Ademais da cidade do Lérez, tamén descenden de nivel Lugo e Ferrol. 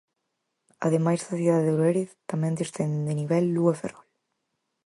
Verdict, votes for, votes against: accepted, 4, 2